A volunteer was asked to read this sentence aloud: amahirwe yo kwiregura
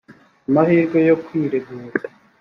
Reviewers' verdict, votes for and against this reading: accepted, 2, 1